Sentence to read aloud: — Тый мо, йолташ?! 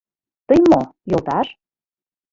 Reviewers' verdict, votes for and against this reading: accepted, 2, 0